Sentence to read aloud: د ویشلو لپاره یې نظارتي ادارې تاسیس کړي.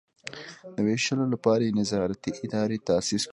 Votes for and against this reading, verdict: 0, 2, rejected